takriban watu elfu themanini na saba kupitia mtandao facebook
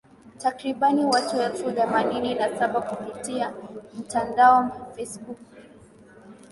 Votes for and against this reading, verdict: 2, 0, accepted